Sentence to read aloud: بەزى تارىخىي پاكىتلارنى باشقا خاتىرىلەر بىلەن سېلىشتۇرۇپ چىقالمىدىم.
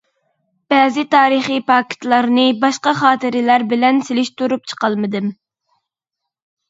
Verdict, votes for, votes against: accepted, 2, 0